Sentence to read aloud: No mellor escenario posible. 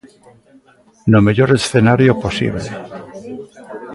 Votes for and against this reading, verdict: 2, 1, accepted